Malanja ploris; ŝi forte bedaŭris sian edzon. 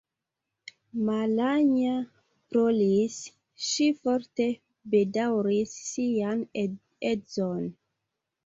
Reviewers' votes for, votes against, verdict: 2, 0, accepted